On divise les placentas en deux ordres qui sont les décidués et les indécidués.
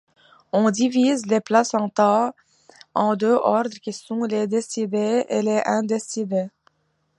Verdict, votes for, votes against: accepted, 2, 0